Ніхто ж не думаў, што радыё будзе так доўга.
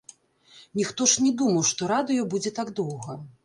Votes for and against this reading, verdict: 1, 2, rejected